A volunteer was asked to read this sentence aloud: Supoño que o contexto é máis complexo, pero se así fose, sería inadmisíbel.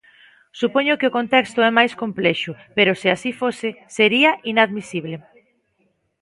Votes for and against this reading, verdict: 0, 3, rejected